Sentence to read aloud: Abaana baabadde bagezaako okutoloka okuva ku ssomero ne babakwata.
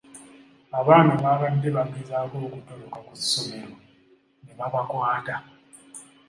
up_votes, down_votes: 2, 0